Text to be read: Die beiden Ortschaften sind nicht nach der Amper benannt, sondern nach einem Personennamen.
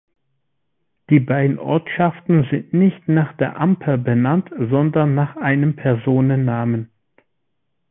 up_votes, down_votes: 2, 0